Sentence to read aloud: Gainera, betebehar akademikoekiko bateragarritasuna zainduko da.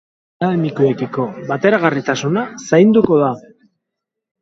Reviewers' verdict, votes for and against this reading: rejected, 0, 4